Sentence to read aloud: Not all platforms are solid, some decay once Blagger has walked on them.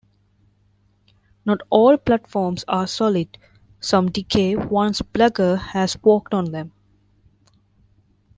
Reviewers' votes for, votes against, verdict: 2, 0, accepted